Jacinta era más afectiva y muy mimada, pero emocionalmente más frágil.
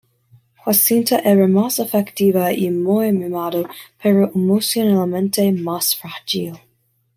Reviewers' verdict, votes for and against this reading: accepted, 2, 0